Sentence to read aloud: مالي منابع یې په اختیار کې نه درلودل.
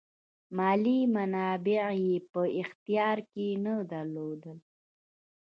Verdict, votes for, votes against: accepted, 2, 0